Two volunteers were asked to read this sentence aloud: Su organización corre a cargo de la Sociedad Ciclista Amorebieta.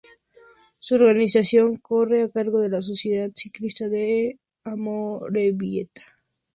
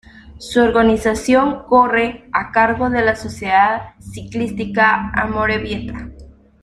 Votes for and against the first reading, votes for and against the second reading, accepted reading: 2, 0, 0, 2, first